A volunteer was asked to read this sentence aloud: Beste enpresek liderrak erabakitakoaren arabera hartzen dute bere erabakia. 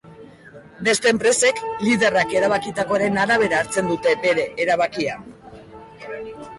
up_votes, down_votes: 1, 2